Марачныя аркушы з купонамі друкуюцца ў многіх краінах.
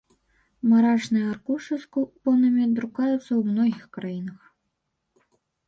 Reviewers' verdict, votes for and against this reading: rejected, 0, 2